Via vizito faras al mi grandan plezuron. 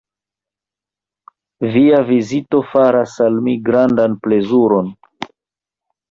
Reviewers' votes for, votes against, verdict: 2, 0, accepted